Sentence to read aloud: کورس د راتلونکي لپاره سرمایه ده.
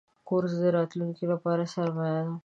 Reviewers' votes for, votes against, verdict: 5, 0, accepted